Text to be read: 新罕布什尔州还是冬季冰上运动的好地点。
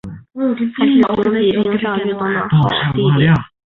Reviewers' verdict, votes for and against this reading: rejected, 1, 3